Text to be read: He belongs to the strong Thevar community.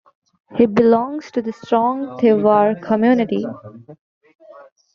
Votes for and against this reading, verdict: 1, 2, rejected